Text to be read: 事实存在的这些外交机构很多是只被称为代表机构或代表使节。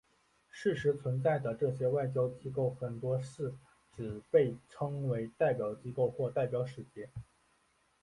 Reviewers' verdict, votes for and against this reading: accepted, 2, 0